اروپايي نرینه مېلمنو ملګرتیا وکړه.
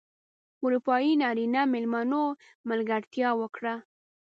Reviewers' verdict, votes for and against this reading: accepted, 2, 0